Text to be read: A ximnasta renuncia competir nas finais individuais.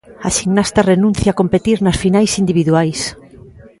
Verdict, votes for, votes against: rejected, 1, 2